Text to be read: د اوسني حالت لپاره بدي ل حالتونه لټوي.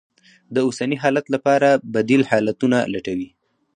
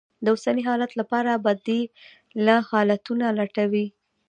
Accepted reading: second